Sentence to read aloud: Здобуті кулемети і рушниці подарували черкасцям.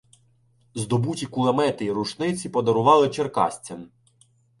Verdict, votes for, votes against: accepted, 2, 0